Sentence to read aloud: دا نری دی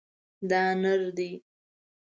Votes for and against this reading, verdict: 1, 2, rejected